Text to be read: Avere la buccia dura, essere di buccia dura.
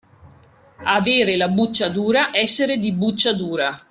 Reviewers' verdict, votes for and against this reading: accepted, 2, 0